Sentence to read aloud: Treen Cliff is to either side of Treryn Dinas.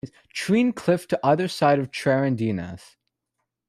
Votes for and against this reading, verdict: 0, 2, rejected